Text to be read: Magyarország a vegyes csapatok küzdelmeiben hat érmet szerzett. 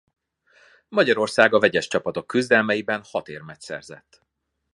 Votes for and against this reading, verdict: 2, 0, accepted